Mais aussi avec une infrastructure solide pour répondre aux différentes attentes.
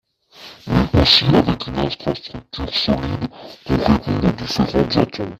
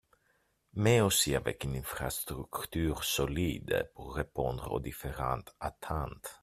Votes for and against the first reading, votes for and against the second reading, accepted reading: 1, 2, 2, 0, second